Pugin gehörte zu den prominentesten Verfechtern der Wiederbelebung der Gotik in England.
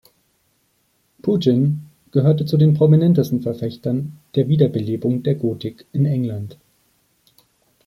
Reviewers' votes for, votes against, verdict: 1, 2, rejected